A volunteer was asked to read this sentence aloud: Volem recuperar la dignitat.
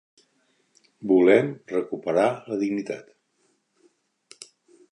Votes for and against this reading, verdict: 2, 0, accepted